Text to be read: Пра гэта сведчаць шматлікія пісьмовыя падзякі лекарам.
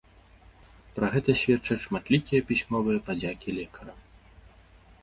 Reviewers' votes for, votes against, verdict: 2, 0, accepted